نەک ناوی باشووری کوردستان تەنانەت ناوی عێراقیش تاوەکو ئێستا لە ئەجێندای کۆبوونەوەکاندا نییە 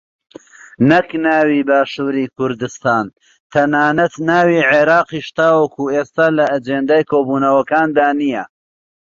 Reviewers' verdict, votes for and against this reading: accepted, 2, 0